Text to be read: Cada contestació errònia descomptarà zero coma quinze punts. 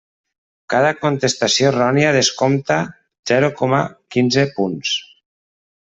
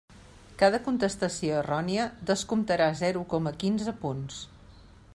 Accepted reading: second